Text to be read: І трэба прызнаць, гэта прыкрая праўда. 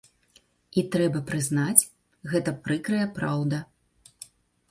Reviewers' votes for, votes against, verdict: 2, 0, accepted